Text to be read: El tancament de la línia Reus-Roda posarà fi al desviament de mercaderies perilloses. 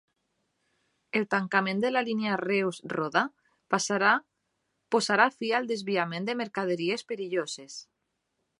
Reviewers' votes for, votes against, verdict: 0, 2, rejected